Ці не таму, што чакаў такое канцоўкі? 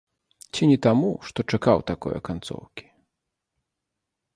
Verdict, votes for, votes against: accepted, 2, 0